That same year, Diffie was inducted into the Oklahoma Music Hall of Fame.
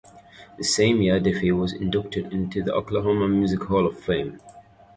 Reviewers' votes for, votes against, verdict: 0, 2, rejected